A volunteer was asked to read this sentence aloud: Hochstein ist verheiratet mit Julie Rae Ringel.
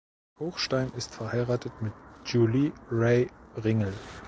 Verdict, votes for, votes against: accepted, 2, 0